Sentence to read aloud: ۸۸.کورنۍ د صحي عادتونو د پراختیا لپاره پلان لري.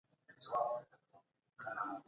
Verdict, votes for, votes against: rejected, 0, 2